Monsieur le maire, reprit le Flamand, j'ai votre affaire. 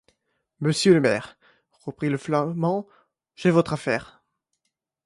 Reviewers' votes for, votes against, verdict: 2, 0, accepted